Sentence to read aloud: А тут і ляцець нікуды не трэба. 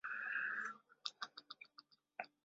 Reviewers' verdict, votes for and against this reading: rejected, 0, 2